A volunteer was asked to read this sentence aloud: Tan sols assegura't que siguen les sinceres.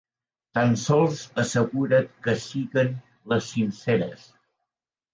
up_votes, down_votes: 3, 0